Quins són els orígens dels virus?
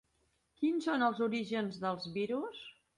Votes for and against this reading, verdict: 2, 0, accepted